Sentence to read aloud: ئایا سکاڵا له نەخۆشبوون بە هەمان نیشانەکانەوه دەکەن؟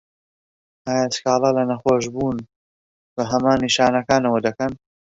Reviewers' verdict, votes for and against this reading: rejected, 1, 2